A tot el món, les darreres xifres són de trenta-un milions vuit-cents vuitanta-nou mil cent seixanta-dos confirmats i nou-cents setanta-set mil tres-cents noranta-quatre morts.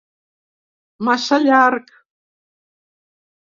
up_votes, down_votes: 0, 2